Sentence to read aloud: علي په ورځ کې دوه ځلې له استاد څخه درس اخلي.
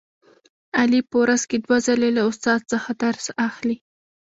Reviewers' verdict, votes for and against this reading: rejected, 0, 2